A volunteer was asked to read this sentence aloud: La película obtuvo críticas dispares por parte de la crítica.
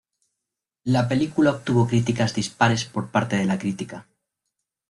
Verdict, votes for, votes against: accepted, 2, 0